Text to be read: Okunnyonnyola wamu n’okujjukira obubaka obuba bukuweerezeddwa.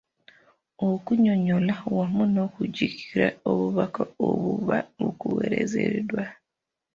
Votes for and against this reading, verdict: 1, 2, rejected